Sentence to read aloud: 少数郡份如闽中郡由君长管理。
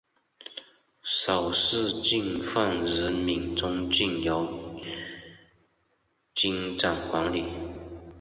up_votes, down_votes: 0, 2